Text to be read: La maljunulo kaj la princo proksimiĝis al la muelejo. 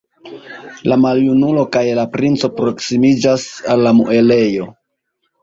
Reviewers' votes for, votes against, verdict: 0, 2, rejected